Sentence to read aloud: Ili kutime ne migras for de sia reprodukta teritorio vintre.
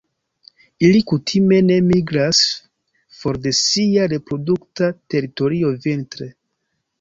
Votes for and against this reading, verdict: 2, 0, accepted